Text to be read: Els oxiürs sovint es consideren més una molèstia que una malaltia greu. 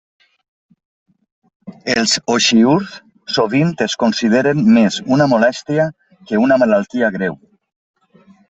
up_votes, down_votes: 2, 0